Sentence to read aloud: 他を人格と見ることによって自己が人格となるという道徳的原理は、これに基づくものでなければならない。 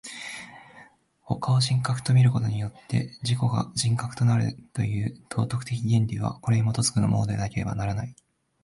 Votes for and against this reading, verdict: 2, 1, accepted